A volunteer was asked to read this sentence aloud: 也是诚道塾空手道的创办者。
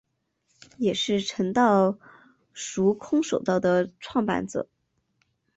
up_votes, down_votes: 4, 0